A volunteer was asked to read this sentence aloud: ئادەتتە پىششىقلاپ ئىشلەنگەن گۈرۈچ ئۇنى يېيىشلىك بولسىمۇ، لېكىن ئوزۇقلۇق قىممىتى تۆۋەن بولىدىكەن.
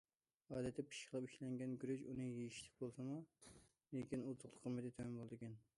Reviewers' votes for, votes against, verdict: 1, 2, rejected